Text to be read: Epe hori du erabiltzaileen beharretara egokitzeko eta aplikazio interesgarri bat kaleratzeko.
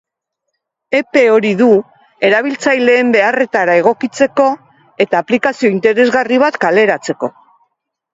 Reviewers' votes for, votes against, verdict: 3, 0, accepted